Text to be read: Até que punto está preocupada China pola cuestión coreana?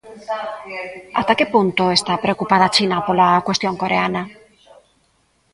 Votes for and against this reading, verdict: 1, 2, rejected